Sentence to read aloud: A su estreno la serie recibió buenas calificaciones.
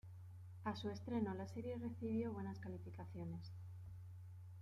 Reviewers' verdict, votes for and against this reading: rejected, 0, 2